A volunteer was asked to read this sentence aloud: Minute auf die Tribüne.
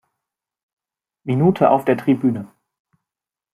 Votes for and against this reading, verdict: 0, 2, rejected